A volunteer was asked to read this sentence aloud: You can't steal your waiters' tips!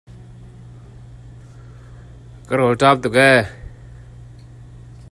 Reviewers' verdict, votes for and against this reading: rejected, 0, 2